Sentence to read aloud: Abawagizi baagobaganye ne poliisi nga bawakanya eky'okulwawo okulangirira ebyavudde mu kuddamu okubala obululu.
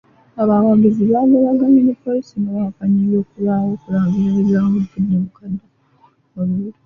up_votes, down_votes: 0, 2